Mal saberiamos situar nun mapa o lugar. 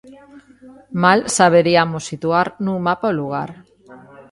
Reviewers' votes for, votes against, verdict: 1, 2, rejected